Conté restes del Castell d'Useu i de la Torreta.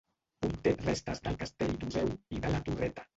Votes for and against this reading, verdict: 0, 2, rejected